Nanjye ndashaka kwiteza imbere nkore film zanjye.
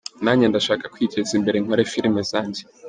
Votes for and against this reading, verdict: 2, 0, accepted